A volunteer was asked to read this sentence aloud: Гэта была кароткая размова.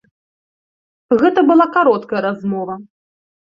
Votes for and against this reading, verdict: 2, 0, accepted